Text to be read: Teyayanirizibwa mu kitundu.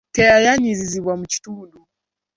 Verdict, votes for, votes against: accepted, 2, 0